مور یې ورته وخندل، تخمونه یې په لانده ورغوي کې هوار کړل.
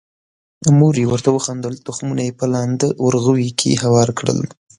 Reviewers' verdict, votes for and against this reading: accepted, 2, 0